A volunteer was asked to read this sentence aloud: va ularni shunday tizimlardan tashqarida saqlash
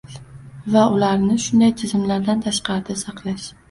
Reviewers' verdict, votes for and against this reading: rejected, 1, 2